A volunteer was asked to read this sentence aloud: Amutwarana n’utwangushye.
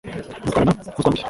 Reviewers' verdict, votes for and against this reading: rejected, 0, 2